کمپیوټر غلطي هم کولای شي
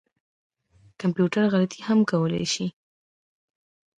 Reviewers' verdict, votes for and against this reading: rejected, 1, 2